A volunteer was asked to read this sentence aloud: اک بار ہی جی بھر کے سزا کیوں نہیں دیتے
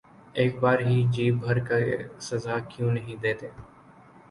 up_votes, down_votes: 2, 0